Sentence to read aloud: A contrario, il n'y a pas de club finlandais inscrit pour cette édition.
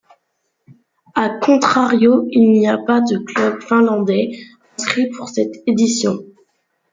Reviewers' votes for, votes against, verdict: 2, 0, accepted